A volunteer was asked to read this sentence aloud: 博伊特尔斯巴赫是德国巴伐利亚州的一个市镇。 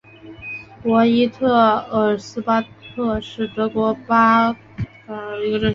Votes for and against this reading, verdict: 0, 2, rejected